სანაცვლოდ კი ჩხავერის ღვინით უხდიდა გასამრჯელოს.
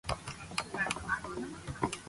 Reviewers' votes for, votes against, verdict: 0, 3, rejected